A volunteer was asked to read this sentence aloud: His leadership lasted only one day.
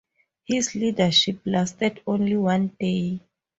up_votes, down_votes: 2, 2